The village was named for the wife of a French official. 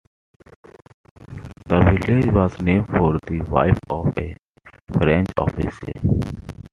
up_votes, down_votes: 2, 0